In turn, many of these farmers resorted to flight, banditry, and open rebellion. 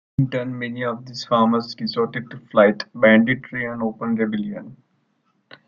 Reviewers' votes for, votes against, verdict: 1, 2, rejected